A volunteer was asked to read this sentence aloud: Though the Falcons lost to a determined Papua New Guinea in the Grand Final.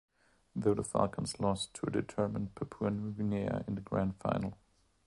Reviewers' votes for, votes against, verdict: 1, 2, rejected